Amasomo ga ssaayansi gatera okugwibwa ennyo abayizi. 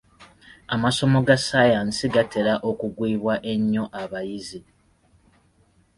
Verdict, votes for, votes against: accepted, 2, 0